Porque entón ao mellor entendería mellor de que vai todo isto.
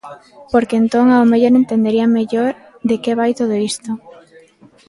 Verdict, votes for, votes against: rejected, 1, 2